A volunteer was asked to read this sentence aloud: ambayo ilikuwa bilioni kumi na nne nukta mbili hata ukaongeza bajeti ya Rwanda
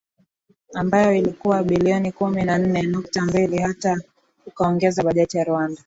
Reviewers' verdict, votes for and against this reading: accepted, 7, 4